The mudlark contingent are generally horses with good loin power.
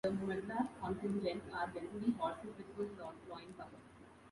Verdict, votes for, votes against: rejected, 0, 2